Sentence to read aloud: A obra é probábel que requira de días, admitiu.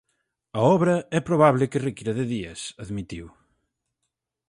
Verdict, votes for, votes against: accepted, 4, 2